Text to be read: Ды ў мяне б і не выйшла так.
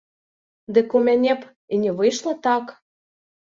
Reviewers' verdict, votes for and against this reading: rejected, 1, 2